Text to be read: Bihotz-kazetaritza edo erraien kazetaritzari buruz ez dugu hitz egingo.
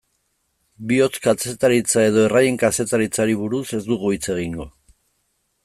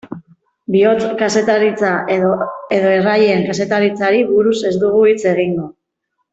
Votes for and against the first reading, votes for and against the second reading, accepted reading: 2, 1, 1, 2, first